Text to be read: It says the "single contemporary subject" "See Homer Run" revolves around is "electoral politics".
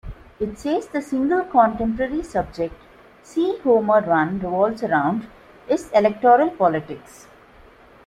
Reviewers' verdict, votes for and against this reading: accepted, 2, 0